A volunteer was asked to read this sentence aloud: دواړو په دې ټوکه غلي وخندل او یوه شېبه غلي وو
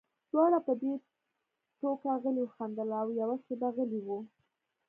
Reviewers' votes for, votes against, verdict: 2, 0, accepted